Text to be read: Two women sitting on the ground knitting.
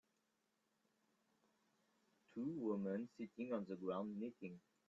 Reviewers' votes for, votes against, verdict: 2, 1, accepted